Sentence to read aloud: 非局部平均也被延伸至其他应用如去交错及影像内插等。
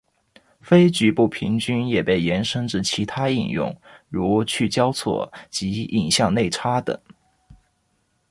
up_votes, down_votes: 2, 0